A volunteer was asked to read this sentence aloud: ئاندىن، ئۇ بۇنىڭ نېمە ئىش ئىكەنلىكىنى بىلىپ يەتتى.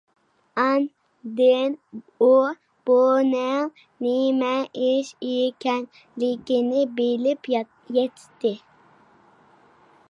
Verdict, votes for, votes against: rejected, 0, 4